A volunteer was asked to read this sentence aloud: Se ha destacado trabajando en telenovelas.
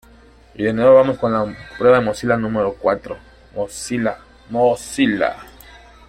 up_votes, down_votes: 1, 2